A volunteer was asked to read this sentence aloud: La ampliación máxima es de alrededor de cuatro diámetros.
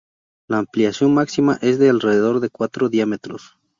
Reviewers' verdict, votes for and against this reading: accepted, 2, 0